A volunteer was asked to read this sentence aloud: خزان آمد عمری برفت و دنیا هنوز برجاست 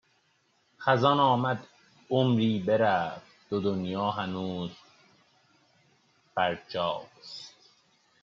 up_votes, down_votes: 1, 2